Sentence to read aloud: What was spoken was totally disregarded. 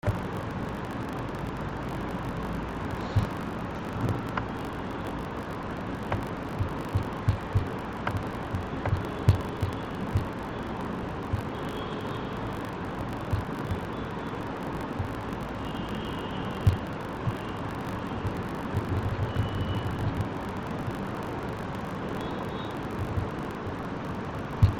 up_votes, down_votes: 1, 9